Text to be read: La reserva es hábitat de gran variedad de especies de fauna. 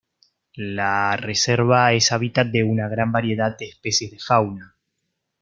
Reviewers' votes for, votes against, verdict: 0, 2, rejected